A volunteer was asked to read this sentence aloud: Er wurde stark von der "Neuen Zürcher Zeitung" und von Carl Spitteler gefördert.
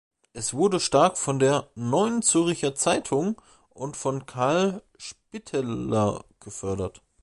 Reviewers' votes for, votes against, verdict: 0, 2, rejected